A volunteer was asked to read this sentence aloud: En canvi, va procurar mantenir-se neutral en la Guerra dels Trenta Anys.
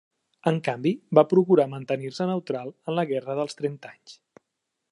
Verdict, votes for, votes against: accepted, 3, 0